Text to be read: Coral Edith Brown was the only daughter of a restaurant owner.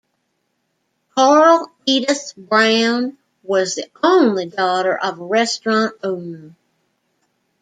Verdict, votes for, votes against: rejected, 1, 2